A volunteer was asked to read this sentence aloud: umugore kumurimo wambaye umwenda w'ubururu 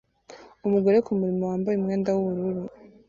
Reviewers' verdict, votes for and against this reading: accepted, 2, 0